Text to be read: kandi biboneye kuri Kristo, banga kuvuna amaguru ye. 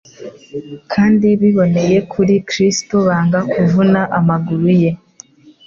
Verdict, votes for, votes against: accepted, 2, 0